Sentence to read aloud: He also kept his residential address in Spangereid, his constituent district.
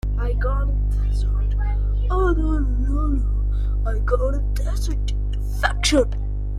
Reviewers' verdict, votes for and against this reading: rejected, 0, 2